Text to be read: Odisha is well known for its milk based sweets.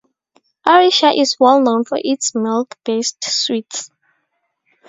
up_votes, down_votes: 2, 0